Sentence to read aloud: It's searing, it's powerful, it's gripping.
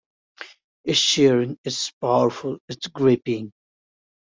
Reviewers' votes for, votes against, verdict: 2, 0, accepted